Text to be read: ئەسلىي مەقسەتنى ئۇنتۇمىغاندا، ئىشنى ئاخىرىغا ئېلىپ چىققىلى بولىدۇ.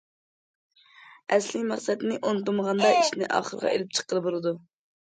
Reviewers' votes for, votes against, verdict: 2, 0, accepted